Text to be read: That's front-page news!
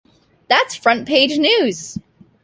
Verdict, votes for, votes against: accepted, 2, 0